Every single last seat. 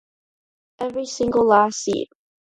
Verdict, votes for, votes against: accepted, 2, 0